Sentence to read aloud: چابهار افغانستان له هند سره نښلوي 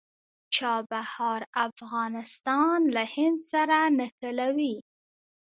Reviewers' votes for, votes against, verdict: 1, 2, rejected